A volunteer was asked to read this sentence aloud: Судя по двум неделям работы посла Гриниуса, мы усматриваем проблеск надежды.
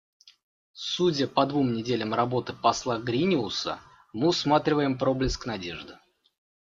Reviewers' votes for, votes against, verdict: 2, 0, accepted